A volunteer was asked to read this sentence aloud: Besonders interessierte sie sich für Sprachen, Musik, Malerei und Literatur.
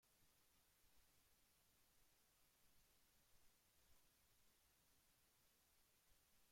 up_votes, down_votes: 0, 2